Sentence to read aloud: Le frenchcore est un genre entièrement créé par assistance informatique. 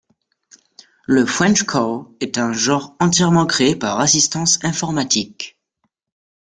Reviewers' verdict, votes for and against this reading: accepted, 2, 1